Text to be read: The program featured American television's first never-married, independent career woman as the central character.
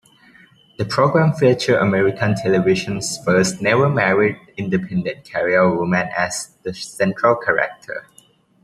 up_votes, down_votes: 0, 2